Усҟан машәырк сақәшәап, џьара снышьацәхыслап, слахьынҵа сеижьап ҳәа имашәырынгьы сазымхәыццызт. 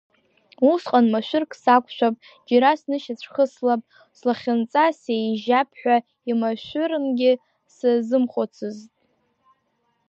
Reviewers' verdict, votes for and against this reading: accepted, 2, 0